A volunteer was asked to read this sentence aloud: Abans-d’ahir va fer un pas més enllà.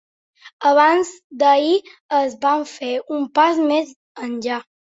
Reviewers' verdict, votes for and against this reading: rejected, 0, 2